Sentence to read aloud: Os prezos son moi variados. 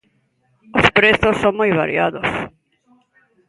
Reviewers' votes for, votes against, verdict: 2, 0, accepted